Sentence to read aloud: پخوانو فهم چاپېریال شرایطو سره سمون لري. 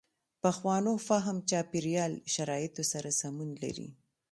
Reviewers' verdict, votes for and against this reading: accepted, 2, 0